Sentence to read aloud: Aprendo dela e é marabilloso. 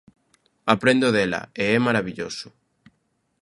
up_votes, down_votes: 2, 0